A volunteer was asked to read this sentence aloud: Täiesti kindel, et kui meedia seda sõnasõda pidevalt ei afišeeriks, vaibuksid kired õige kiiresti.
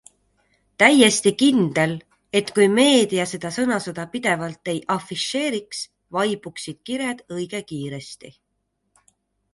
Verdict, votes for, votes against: accepted, 2, 0